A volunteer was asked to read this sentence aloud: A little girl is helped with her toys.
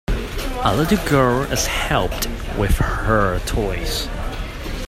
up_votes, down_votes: 2, 1